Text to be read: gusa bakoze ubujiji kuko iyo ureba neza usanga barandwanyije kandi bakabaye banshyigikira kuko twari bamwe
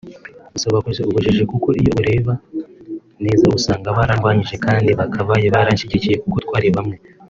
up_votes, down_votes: 3, 0